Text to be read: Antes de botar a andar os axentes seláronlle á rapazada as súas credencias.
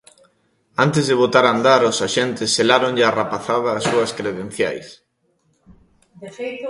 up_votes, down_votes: 0, 2